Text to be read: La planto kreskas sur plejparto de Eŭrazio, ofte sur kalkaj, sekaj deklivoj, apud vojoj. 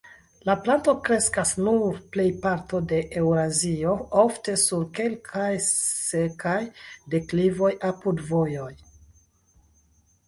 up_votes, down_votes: 1, 2